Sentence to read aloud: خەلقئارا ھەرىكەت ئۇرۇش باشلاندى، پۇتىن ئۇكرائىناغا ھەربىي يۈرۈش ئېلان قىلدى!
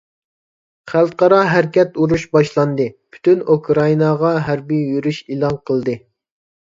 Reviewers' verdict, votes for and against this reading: rejected, 0, 2